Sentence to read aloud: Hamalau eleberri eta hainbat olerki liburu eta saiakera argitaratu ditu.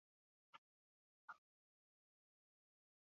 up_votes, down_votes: 4, 0